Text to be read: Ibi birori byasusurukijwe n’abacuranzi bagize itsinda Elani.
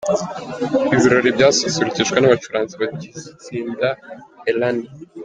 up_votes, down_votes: 1, 2